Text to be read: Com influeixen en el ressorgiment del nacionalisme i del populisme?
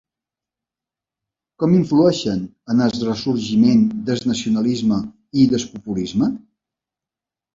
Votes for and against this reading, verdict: 1, 2, rejected